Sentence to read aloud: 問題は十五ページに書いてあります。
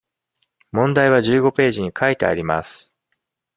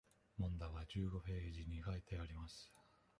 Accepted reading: first